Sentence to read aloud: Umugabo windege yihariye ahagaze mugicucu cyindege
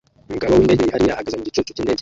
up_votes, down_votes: 0, 2